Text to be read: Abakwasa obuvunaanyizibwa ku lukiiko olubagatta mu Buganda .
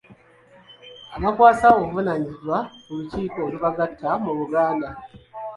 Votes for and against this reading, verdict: 0, 2, rejected